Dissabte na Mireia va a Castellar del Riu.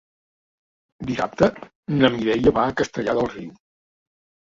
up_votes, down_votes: 3, 0